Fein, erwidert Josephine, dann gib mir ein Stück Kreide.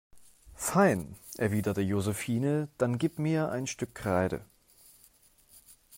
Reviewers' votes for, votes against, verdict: 0, 2, rejected